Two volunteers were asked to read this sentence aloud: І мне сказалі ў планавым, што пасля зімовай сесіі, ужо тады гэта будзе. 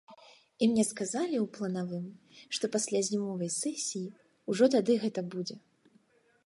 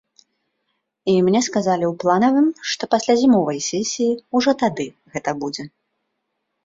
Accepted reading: second